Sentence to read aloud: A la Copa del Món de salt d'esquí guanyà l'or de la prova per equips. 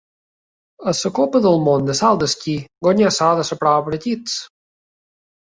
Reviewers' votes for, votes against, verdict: 0, 2, rejected